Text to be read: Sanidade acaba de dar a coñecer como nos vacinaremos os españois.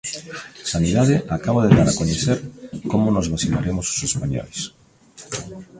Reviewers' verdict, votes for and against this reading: accepted, 2, 0